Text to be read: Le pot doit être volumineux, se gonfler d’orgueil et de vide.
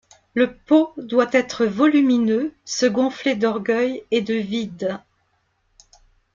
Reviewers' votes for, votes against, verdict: 2, 0, accepted